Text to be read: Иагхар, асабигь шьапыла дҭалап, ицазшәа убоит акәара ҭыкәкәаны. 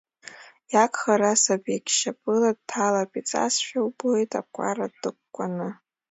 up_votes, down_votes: 3, 2